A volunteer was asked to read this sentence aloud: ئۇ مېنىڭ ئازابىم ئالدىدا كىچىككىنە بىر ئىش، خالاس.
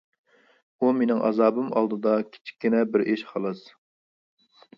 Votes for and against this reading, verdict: 2, 0, accepted